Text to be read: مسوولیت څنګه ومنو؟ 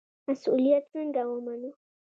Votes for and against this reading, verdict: 2, 0, accepted